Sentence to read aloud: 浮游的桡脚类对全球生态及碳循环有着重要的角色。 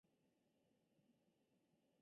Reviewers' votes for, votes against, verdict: 1, 2, rejected